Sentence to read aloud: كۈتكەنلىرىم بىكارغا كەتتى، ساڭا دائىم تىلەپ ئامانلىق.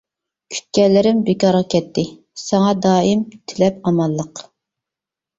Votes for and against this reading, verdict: 2, 0, accepted